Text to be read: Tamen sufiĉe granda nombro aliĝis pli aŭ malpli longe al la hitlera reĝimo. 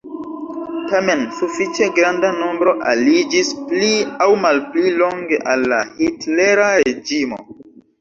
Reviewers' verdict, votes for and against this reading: accepted, 2, 0